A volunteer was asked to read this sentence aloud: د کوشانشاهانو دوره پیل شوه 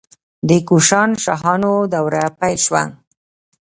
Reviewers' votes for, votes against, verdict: 2, 1, accepted